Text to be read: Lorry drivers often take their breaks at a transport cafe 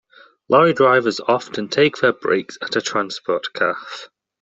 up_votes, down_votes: 2, 0